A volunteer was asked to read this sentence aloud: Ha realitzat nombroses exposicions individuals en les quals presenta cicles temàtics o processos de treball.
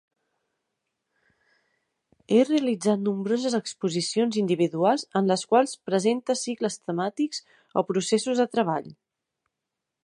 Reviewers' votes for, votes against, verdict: 0, 2, rejected